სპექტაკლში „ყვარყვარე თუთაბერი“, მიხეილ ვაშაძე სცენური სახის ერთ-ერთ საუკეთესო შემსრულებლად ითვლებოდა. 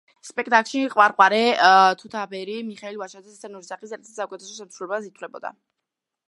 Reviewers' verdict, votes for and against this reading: rejected, 0, 2